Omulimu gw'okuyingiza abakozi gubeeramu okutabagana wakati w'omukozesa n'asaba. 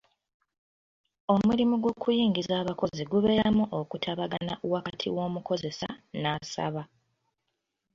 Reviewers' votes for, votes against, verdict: 2, 1, accepted